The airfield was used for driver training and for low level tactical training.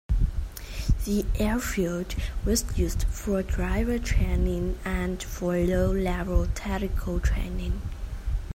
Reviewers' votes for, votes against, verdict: 2, 0, accepted